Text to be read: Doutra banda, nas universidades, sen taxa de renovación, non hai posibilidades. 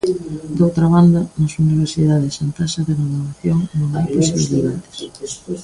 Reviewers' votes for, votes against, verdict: 0, 3, rejected